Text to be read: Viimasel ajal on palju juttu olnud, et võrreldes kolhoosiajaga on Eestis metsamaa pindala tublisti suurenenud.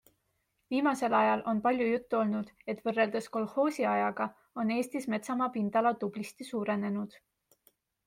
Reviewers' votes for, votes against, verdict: 2, 0, accepted